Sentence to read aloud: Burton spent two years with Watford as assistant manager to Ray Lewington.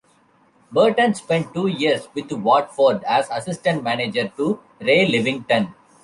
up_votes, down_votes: 0, 2